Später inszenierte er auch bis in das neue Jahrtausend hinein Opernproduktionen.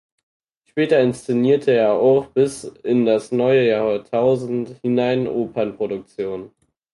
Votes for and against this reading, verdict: 4, 2, accepted